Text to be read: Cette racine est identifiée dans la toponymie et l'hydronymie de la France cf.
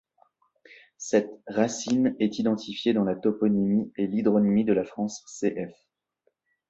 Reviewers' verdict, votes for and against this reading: accepted, 2, 0